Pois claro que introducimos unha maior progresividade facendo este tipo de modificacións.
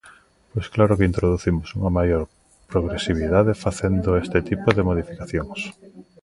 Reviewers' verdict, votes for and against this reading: accepted, 2, 0